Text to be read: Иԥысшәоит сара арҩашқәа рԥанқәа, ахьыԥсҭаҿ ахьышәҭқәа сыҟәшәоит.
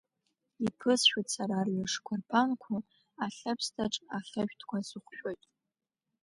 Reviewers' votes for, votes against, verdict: 1, 2, rejected